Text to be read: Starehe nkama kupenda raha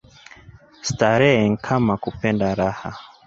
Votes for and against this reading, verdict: 2, 1, accepted